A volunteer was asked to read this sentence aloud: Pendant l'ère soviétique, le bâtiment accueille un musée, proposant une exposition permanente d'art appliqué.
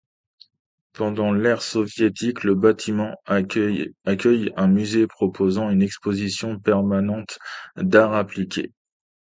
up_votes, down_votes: 0, 2